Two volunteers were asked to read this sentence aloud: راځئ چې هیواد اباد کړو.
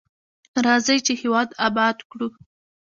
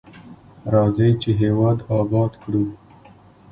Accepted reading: second